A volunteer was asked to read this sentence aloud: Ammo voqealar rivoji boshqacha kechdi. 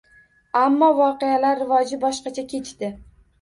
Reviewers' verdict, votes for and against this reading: rejected, 1, 2